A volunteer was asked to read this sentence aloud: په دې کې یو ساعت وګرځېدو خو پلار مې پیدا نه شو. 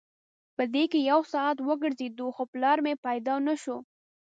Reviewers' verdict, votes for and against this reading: accepted, 2, 0